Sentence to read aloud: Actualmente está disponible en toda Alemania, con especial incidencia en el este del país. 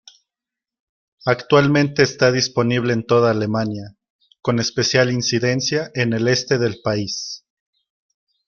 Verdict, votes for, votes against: accepted, 2, 0